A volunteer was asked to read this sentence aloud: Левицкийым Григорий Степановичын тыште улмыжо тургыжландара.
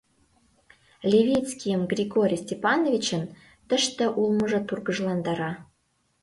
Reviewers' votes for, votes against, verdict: 3, 0, accepted